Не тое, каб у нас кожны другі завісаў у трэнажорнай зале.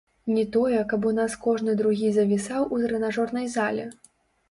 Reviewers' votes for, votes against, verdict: 1, 2, rejected